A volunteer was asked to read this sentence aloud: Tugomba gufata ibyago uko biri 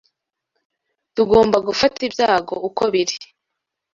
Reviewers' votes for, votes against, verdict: 2, 0, accepted